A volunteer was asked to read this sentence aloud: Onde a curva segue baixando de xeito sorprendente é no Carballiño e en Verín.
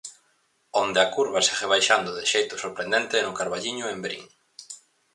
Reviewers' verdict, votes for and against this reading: accepted, 4, 0